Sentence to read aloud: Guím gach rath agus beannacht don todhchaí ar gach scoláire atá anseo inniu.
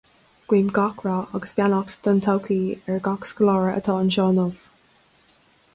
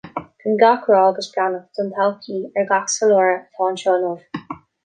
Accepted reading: first